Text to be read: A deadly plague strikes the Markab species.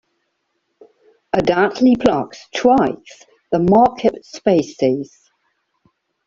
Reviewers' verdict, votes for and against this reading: rejected, 0, 2